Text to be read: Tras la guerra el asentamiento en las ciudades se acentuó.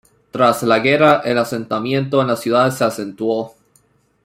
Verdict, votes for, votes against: accepted, 2, 0